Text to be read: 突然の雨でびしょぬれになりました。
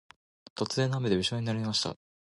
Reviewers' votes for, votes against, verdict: 1, 2, rejected